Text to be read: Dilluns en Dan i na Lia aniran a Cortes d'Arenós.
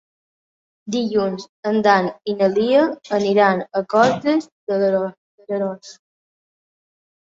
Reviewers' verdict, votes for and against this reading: rejected, 0, 2